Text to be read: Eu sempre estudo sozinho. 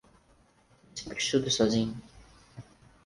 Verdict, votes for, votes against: rejected, 0, 4